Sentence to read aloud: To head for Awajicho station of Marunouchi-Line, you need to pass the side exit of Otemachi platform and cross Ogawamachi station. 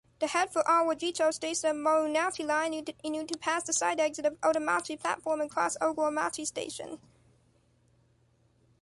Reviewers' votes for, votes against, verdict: 0, 2, rejected